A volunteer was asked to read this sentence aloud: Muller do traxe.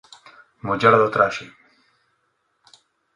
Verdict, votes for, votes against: accepted, 2, 0